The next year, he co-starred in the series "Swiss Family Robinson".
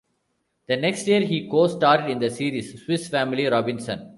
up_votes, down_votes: 2, 0